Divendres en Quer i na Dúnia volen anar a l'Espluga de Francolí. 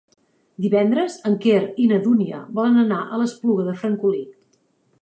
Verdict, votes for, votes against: accepted, 2, 0